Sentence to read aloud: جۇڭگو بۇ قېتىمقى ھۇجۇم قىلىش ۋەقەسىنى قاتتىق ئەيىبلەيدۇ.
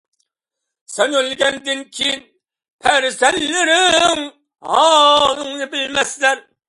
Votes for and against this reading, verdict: 0, 2, rejected